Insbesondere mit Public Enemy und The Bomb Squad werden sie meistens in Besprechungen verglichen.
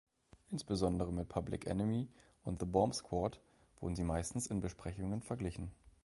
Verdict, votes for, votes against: rejected, 0, 2